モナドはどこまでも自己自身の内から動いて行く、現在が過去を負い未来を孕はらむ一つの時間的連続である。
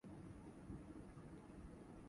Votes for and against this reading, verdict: 0, 2, rejected